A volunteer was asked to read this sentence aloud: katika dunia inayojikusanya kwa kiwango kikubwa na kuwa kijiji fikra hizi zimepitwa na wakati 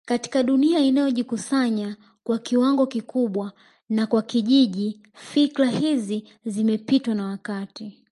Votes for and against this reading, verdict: 0, 2, rejected